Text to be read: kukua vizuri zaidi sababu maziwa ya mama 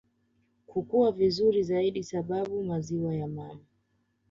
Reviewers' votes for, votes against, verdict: 2, 0, accepted